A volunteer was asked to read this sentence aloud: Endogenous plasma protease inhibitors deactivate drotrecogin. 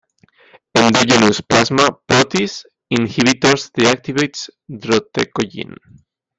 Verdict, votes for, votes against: rejected, 1, 2